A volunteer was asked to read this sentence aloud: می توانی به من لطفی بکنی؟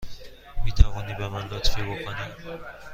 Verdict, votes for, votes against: accepted, 2, 0